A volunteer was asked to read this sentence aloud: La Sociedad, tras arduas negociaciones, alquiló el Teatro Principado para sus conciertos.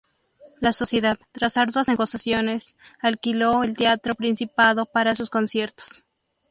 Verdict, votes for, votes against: rejected, 0, 2